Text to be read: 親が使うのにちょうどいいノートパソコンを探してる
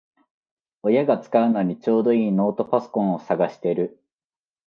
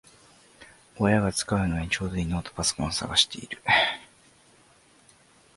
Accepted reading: first